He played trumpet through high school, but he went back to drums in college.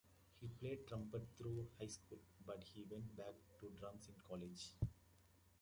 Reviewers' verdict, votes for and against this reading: accepted, 2, 1